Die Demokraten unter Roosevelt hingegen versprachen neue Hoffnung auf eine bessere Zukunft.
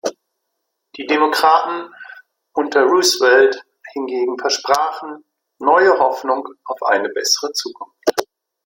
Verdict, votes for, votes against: accepted, 2, 0